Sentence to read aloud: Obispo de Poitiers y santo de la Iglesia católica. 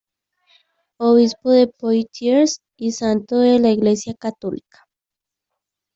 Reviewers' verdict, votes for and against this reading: rejected, 1, 2